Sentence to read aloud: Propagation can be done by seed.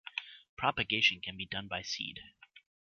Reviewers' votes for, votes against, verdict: 2, 0, accepted